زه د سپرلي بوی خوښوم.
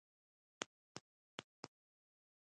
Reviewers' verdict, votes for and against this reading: accepted, 2, 0